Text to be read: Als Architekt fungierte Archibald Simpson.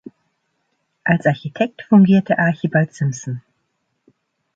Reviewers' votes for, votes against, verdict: 2, 1, accepted